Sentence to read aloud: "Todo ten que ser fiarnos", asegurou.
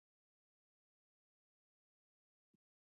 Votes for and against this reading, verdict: 0, 4, rejected